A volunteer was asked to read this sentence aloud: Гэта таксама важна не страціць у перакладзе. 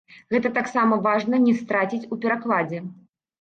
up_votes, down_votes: 1, 2